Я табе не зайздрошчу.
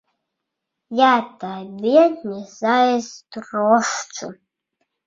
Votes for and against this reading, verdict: 2, 0, accepted